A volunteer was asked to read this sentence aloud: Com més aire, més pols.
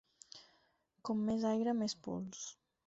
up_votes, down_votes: 4, 0